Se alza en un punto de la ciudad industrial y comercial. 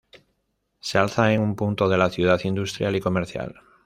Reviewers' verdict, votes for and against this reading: accepted, 2, 0